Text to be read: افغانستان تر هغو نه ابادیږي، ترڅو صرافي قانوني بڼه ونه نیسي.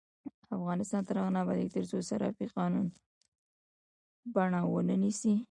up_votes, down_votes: 1, 2